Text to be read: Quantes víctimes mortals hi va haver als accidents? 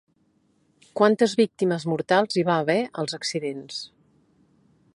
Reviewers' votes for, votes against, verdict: 1, 2, rejected